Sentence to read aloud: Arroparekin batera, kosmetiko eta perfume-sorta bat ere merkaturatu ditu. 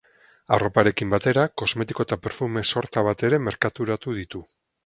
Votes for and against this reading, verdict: 4, 0, accepted